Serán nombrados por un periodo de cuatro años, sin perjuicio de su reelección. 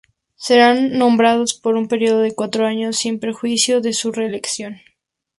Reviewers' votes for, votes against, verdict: 2, 0, accepted